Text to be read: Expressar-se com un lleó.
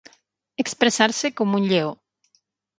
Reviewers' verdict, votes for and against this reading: accepted, 9, 0